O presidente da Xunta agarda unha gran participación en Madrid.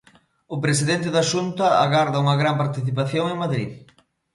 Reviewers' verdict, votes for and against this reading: accepted, 2, 0